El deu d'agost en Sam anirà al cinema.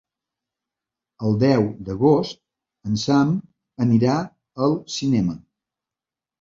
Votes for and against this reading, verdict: 2, 1, accepted